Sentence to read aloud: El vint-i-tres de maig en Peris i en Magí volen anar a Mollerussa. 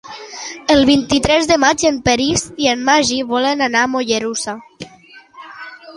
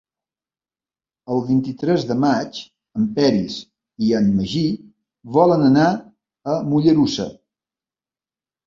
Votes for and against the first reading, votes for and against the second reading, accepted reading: 1, 2, 3, 0, second